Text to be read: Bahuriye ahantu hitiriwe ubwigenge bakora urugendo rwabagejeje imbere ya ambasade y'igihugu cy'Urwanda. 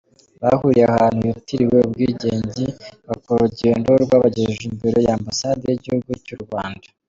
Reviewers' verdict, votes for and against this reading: accepted, 2, 0